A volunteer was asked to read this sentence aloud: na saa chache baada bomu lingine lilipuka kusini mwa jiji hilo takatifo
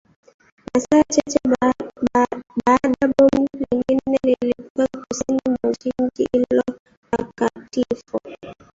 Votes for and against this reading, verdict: 0, 2, rejected